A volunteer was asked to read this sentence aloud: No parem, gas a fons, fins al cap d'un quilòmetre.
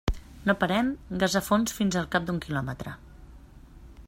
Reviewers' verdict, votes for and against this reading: accepted, 3, 0